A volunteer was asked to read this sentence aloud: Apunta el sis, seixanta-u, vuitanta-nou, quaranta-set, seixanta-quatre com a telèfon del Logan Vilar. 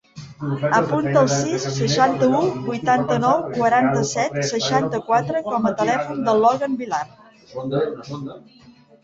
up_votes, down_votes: 0, 2